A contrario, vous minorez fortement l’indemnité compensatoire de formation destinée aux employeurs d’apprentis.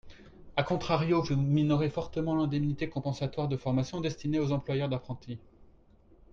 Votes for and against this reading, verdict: 4, 1, accepted